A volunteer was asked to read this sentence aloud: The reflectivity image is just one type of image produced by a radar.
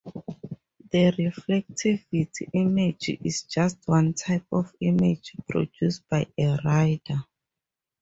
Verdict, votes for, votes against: rejected, 0, 2